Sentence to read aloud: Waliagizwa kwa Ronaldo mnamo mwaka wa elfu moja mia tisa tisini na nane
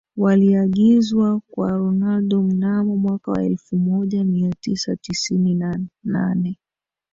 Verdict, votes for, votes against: rejected, 0, 2